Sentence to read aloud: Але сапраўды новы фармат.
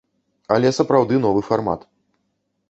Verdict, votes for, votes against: accepted, 2, 0